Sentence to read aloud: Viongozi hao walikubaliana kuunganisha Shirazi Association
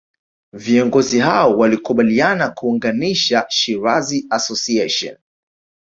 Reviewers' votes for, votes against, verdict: 1, 2, rejected